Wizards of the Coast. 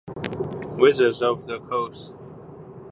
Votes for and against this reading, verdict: 2, 1, accepted